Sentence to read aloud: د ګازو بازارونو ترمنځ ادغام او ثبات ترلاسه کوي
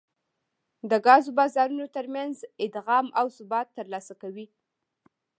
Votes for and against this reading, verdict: 3, 0, accepted